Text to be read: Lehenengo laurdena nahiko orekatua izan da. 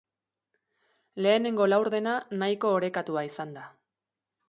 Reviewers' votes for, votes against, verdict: 3, 0, accepted